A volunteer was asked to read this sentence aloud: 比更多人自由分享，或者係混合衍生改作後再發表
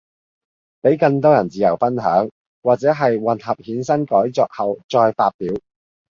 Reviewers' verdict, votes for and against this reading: accepted, 2, 0